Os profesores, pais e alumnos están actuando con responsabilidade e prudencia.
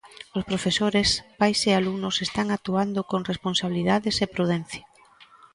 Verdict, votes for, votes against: rejected, 0, 2